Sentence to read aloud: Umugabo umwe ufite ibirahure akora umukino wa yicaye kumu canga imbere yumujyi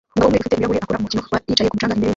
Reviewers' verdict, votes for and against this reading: rejected, 0, 2